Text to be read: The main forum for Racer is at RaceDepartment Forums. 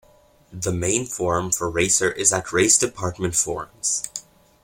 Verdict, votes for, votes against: accepted, 2, 0